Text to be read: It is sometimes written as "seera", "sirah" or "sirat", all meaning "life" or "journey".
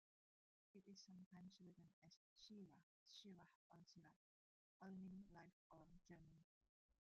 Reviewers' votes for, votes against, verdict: 0, 2, rejected